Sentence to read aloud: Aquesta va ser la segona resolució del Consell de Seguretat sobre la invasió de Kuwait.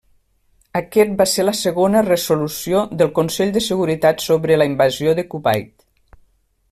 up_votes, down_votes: 1, 2